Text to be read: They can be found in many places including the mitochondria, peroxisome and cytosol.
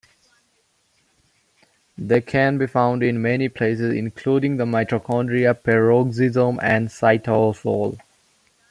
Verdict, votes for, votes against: accepted, 2, 0